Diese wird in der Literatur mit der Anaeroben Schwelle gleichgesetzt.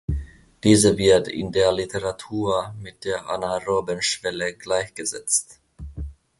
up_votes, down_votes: 2, 1